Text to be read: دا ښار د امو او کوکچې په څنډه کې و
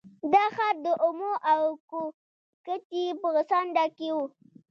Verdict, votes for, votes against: rejected, 1, 2